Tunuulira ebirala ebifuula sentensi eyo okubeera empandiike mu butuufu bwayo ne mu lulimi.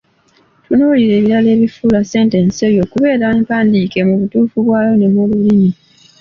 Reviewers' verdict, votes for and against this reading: accepted, 2, 1